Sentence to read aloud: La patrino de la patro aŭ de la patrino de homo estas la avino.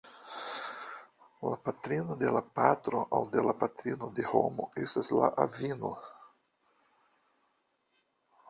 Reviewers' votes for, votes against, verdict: 0, 2, rejected